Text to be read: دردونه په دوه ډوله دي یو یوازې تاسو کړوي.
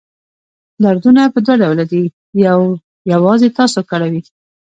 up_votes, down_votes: 2, 0